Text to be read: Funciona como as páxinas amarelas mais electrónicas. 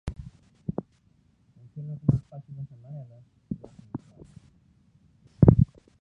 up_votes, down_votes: 0, 2